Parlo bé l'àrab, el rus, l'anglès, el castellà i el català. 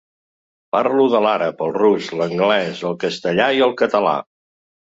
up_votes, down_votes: 1, 2